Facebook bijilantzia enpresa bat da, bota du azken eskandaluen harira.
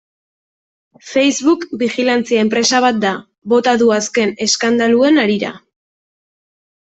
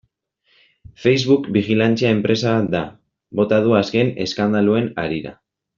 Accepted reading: first